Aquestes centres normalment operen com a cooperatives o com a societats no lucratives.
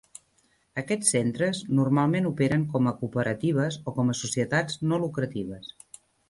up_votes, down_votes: 0, 2